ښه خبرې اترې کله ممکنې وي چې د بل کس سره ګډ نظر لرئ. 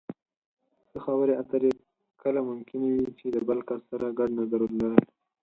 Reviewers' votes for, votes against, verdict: 0, 4, rejected